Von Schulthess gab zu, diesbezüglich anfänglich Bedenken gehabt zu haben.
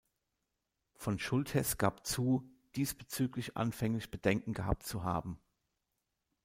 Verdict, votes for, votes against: accepted, 2, 0